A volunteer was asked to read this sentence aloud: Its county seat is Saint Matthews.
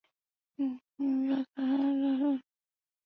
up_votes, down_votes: 0, 2